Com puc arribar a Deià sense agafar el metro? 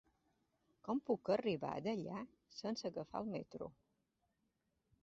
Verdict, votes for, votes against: accepted, 2, 0